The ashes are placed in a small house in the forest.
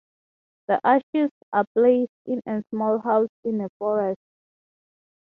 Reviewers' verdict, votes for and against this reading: rejected, 0, 3